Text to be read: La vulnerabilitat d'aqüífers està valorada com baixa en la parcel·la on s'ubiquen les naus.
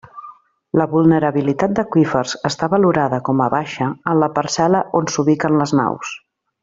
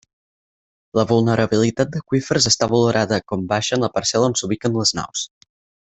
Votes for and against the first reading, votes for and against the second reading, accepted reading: 0, 2, 4, 0, second